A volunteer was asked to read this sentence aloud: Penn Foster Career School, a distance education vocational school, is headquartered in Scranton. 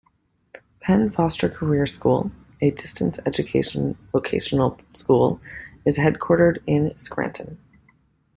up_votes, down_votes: 2, 0